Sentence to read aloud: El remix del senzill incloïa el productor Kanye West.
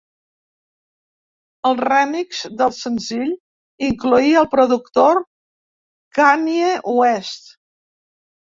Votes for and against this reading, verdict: 1, 2, rejected